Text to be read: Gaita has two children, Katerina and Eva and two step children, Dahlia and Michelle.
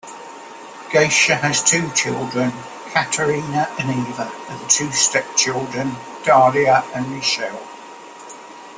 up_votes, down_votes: 1, 2